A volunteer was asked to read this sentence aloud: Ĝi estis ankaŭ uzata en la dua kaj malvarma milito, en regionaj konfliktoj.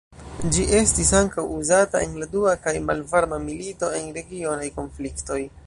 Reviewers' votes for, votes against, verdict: 2, 0, accepted